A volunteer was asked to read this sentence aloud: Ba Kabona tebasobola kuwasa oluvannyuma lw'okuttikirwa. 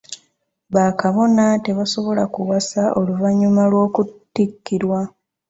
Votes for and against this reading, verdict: 2, 1, accepted